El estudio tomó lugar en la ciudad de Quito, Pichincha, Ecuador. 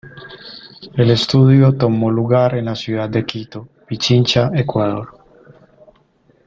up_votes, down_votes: 2, 0